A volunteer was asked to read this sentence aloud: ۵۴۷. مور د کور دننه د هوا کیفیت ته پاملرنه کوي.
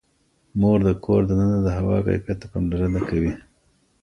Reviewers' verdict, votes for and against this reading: rejected, 0, 2